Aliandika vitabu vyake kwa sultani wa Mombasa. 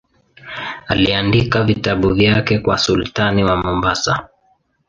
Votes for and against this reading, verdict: 2, 0, accepted